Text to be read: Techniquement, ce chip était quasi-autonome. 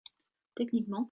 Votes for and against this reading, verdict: 0, 2, rejected